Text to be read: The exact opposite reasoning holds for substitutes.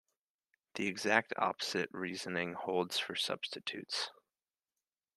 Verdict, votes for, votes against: accepted, 2, 0